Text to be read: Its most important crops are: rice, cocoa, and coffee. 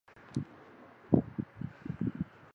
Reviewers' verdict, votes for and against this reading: rejected, 0, 3